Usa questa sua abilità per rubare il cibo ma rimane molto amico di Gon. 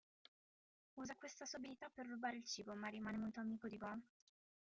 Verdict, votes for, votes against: rejected, 0, 2